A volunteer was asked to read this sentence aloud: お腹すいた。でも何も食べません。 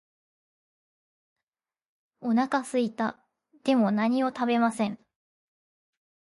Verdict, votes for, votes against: accepted, 2, 0